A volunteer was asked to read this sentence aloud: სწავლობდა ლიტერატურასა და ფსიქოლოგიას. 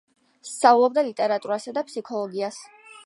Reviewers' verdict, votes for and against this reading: accepted, 2, 0